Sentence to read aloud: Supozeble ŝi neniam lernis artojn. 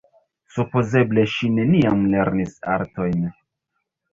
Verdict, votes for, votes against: accepted, 4, 2